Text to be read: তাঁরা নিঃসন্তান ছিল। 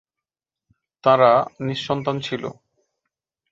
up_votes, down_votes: 2, 0